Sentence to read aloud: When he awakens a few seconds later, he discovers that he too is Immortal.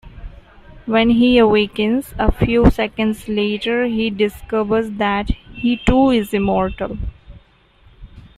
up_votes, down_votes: 2, 1